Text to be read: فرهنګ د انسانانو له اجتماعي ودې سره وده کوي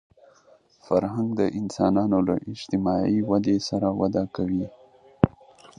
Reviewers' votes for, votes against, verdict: 3, 0, accepted